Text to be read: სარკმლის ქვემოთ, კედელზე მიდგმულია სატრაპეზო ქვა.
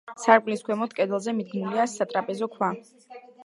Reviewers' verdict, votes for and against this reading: rejected, 1, 2